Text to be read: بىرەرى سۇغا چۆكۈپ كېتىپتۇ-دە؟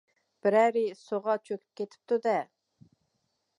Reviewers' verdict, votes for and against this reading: accepted, 2, 1